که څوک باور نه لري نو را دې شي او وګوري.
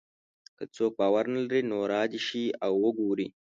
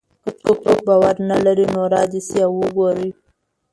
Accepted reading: first